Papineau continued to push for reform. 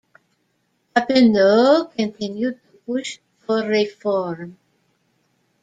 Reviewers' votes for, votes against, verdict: 1, 2, rejected